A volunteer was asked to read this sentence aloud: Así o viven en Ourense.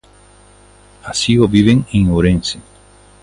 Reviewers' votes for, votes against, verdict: 2, 0, accepted